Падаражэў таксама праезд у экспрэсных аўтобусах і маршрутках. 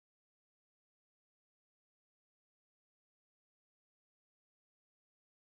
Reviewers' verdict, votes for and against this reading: rejected, 0, 2